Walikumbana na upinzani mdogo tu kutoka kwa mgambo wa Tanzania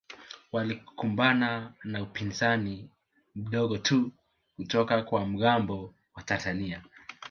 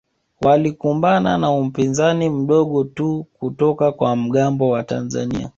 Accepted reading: second